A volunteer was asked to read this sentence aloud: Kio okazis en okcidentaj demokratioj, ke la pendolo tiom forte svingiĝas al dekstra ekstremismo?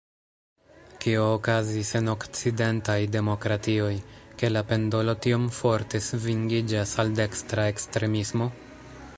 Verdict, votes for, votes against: rejected, 1, 2